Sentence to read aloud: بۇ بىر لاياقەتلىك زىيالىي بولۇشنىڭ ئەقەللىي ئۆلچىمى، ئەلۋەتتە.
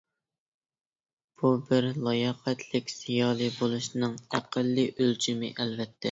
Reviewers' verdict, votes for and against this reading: accepted, 2, 0